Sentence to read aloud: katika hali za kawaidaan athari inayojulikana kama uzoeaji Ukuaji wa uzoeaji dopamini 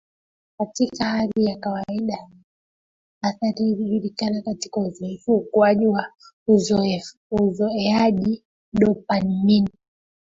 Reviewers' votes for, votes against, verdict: 0, 2, rejected